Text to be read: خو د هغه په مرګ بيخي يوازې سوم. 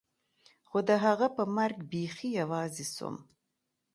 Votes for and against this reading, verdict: 2, 0, accepted